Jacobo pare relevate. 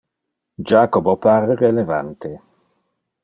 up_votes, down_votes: 0, 2